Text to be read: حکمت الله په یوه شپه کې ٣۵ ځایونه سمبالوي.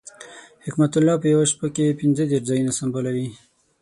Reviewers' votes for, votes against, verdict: 0, 2, rejected